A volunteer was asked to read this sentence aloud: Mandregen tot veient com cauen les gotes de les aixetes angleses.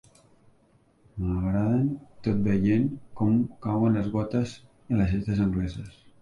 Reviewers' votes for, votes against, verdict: 0, 2, rejected